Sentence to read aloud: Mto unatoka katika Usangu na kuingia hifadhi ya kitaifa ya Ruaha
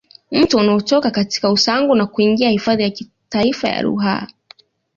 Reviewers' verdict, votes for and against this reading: accepted, 2, 1